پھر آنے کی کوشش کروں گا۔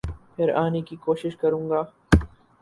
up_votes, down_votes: 2, 2